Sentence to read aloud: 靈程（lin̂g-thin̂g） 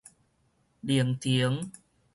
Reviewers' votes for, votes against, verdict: 4, 2, accepted